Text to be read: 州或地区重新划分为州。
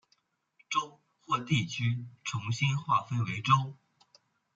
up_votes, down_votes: 2, 0